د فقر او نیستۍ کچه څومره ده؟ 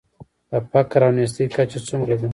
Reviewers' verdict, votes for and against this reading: accepted, 3, 0